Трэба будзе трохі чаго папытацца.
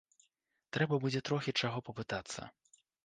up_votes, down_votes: 2, 0